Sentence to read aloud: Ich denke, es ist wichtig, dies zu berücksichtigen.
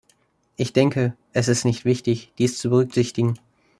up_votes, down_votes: 0, 2